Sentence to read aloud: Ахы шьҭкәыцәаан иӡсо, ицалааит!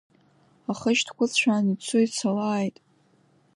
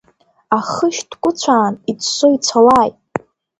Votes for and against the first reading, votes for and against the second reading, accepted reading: 0, 2, 2, 1, second